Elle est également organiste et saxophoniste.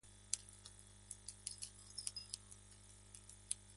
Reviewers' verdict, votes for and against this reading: rejected, 0, 2